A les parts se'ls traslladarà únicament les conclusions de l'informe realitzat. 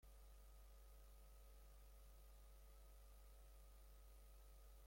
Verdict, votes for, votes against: rejected, 0, 3